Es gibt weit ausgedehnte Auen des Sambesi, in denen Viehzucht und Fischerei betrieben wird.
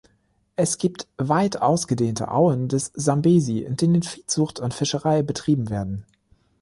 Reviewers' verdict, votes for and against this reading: rejected, 0, 3